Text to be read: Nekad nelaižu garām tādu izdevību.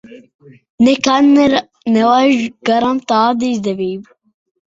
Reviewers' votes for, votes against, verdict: 0, 2, rejected